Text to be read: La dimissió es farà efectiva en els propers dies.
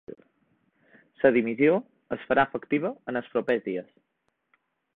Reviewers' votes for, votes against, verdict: 1, 2, rejected